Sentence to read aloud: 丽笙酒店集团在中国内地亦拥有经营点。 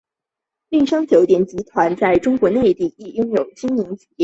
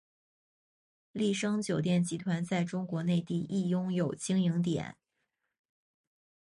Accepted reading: second